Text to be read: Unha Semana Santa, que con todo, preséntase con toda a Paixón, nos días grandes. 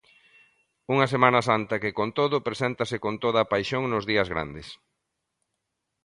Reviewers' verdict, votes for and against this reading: accepted, 2, 0